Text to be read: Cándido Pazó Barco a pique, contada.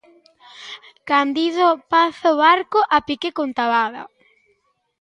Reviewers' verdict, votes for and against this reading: rejected, 0, 2